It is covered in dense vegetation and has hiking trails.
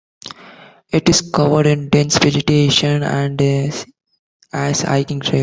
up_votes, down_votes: 0, 2